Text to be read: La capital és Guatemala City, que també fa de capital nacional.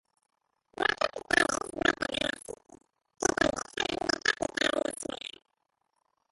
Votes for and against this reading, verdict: 0, 3, rejected